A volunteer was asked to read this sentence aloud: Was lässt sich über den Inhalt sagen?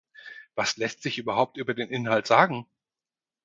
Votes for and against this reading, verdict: 2, 4, rejected